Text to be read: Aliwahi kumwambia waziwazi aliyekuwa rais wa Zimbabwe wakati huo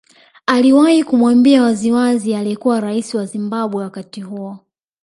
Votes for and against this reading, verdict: 1, 2, rejected